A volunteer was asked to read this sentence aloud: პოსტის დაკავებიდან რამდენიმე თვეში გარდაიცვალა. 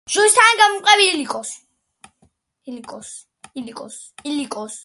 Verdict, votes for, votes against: rejected, 0, 2